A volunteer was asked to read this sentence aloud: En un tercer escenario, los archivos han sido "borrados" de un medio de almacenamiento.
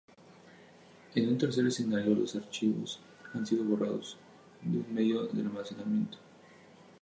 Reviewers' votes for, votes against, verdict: 4, 0, accepted